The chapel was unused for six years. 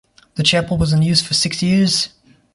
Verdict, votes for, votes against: accepted, 2, 0